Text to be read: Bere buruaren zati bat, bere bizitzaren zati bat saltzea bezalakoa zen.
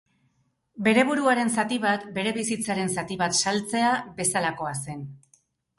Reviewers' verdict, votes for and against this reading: rejected, 2, 2